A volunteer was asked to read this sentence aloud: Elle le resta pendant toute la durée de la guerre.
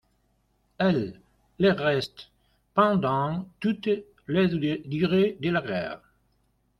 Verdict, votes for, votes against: rejected, 0, 2